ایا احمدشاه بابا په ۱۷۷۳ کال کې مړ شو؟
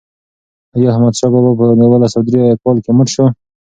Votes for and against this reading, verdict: 0, 2, rejected